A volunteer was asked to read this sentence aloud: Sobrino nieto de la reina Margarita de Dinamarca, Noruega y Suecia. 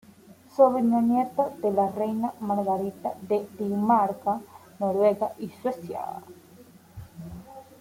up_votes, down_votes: 2, 0